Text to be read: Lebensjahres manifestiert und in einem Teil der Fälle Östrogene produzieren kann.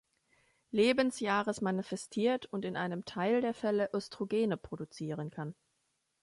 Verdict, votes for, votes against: accepted, 2, 0